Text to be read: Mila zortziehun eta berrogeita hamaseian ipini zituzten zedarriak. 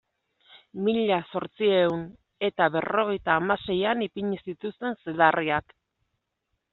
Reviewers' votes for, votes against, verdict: 2, 0, accepted